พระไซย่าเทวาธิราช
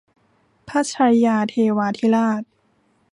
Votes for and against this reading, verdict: 1, 2, rejected